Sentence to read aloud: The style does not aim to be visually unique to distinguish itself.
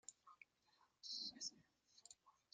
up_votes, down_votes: 0, 2